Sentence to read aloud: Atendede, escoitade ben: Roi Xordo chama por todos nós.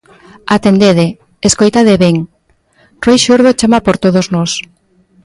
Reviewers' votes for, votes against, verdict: 1, 2, rejected